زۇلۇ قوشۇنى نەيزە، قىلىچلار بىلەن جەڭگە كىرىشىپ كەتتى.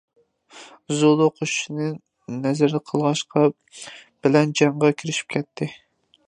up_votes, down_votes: 0, 2